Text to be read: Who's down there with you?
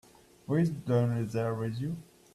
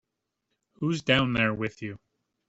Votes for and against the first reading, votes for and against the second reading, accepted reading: 0, 2, 3, 0, second